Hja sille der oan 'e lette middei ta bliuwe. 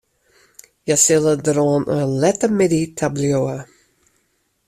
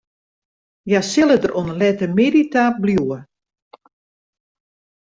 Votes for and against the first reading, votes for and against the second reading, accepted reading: 1, 2, 2, 0, second